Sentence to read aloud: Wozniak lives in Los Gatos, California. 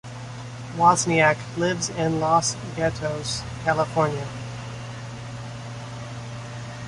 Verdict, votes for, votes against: accepted, 2, 0